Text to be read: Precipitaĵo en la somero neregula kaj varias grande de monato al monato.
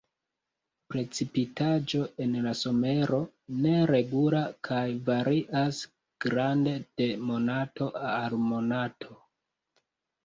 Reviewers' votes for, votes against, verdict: 2, 1, accepted